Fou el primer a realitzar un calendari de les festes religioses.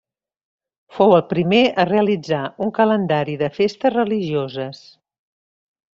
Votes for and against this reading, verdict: 1, 2, rejected